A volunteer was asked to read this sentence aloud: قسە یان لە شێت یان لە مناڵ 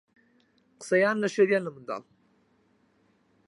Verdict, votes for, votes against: rejected, 2, 4